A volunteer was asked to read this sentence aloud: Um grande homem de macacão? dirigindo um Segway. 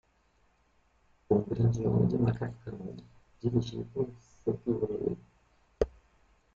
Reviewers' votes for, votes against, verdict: 0, 2, rejected